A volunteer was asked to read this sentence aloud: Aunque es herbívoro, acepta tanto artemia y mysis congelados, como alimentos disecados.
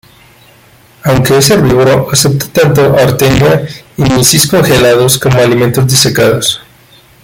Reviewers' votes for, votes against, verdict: 1, 2, rejected